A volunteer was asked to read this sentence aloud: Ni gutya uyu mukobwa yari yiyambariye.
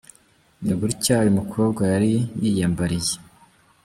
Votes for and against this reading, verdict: 2, 1, accepted